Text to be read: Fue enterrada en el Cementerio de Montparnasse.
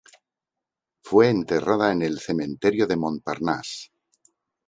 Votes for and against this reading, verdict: 0, 2, rejected